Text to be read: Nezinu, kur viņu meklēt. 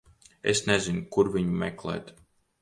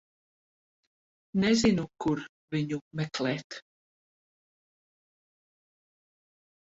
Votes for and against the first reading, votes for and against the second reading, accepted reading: 0, 2, 10, 0, second